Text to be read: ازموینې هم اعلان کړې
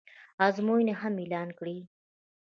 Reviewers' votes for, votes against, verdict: 1, 2, rejected